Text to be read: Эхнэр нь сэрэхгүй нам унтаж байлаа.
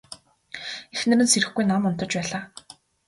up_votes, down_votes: 2, 0